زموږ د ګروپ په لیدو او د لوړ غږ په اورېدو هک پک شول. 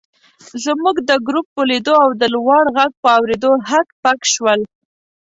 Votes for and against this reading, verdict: 2, 0, accepted